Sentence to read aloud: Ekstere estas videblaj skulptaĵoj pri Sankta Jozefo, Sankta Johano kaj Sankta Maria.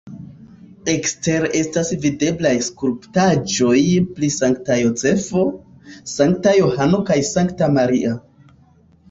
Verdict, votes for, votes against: rejected, 1, 3